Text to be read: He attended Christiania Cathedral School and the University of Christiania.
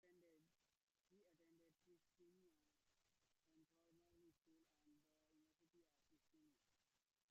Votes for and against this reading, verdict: 0, 2, rejected